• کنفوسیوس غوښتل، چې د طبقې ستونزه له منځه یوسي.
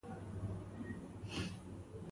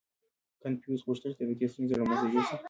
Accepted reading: second